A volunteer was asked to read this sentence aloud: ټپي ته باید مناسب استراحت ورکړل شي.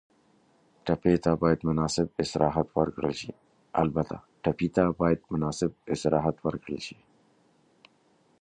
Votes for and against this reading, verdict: 0, 2, rejected